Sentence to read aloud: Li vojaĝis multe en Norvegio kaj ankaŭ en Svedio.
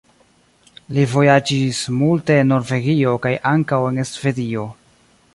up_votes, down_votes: 2, 1